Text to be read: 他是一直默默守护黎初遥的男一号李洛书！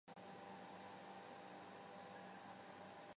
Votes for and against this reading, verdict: 0, 4, rejected